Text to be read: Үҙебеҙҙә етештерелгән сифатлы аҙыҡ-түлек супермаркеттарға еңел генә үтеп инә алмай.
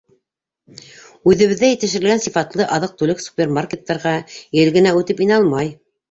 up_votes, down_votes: 1, 2